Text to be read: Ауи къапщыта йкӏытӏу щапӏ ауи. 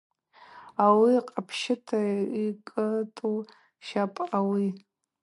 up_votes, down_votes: 2, 0